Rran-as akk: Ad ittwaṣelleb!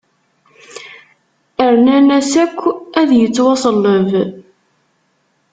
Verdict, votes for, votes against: rejected, 1, 2